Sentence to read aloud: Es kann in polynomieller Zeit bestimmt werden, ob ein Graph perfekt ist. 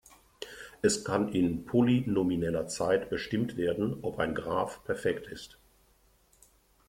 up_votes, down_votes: 2, 0